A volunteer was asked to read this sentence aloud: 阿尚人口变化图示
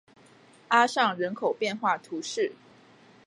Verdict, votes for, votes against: accepted, 2, 0